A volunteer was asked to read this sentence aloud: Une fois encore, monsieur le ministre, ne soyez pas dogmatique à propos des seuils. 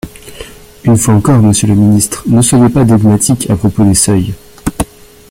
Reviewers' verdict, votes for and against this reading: rejected, 0, 2